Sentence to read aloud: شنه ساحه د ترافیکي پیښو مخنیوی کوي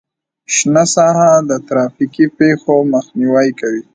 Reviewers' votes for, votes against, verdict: 2, 1, accepted